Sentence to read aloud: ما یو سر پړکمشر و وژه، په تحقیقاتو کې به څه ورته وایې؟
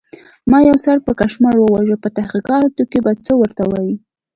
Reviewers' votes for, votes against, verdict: 2, 0, accepted